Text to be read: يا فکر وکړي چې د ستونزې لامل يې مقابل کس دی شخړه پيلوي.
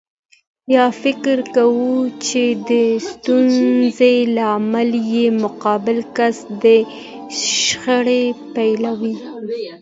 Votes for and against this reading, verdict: 2, 0, accepted